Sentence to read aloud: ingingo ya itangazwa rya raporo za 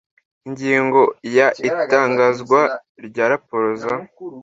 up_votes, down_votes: 2, 0